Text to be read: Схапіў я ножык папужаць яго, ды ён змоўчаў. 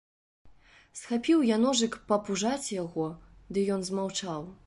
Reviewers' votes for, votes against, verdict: 1, 2, rejected